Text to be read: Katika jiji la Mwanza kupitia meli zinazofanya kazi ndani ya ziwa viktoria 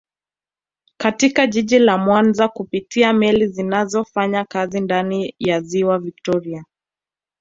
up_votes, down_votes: 2, 0